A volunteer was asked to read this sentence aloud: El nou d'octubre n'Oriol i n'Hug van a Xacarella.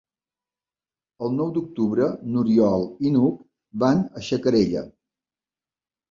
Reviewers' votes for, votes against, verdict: 4, 0, accepted